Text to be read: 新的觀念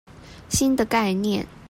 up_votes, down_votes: 0, 2